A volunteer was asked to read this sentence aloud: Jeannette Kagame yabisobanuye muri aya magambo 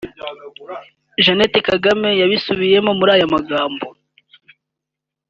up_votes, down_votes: 1, 3